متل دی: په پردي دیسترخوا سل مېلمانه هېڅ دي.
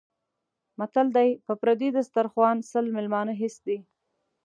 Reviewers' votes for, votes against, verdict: 2, 0, accepted